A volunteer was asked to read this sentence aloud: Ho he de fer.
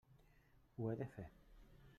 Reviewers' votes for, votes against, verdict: 3, 1, accepted